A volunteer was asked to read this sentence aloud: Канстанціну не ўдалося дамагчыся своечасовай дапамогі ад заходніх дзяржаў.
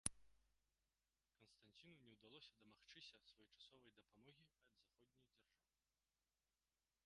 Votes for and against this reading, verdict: 0, 2, rejected